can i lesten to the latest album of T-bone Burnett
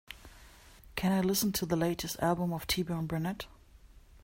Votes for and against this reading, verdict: 2, 3, rejected